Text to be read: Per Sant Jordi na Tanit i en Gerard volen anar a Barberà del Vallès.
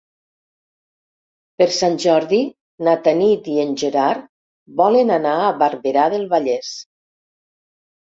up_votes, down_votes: 3, 0